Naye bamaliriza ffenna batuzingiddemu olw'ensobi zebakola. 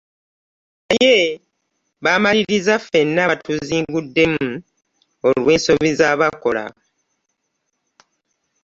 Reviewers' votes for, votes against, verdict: 1, 2, rejected